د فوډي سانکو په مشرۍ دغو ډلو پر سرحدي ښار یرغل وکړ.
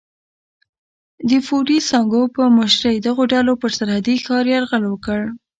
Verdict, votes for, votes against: rejected, 1, 2